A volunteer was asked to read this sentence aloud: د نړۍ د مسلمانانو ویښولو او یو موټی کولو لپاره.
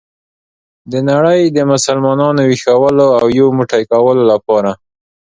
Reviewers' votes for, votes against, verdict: 2, 0, accepted